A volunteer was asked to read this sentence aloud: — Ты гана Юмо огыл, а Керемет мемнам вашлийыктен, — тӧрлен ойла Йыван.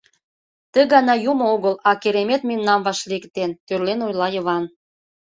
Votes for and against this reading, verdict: 2, 0, accepted